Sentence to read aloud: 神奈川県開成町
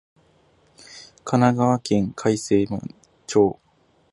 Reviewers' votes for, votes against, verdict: 0, 2, rejected